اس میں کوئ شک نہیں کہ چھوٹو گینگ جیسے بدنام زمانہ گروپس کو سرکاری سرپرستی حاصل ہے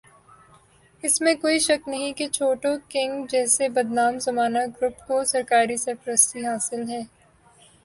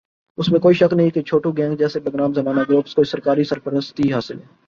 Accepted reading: second